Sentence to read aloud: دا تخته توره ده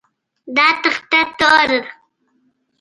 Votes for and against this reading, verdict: 2, 0, accepted